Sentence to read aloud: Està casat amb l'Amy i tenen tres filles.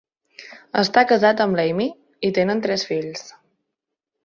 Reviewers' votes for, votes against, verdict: 0, 2, rejected